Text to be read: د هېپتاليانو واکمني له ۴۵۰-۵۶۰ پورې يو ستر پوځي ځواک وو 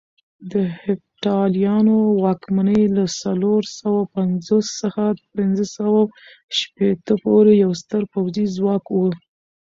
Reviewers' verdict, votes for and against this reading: rejected, 0, 2